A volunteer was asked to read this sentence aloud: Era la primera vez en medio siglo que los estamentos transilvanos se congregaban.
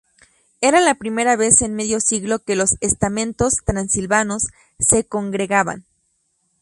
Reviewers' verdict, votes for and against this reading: accepted, 2, 0